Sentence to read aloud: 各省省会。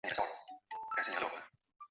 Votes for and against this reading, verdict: 0, 3, rejected